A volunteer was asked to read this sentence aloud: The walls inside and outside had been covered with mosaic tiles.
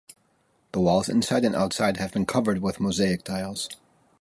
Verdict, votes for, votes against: accepted, 2, 0